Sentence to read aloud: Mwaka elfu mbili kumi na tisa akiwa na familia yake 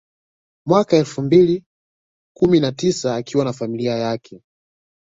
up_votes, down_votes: 2, 1